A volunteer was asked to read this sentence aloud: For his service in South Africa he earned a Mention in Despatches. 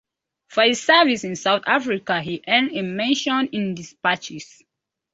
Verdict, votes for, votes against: accepted, 2, 0